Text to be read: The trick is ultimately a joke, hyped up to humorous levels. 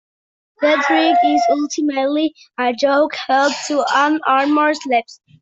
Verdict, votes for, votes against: rejected, 0, 2